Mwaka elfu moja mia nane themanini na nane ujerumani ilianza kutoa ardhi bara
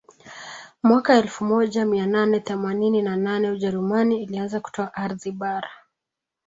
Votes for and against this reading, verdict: 2, 1, accepted